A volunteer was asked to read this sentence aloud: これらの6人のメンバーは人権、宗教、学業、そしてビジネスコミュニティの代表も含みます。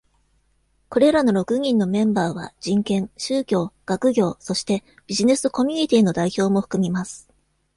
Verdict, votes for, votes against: rejected, 0, 2